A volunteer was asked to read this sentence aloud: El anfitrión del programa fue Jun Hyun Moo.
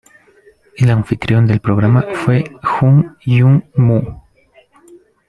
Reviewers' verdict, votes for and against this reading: rejected, 1, 2